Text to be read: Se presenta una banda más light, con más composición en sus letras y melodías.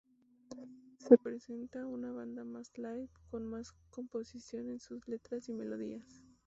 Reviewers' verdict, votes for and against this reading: rejected, 0, 2